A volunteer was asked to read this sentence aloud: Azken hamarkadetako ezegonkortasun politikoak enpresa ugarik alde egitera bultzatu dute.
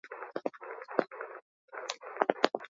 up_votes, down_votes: 0, 4